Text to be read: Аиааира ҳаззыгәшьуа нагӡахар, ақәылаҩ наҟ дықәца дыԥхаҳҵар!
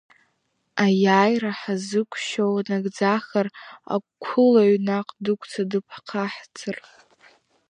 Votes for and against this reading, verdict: 2, 1, accepted